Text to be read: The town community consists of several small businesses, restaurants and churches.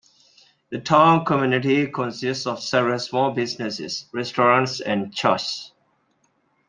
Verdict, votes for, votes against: accepted, 2, 0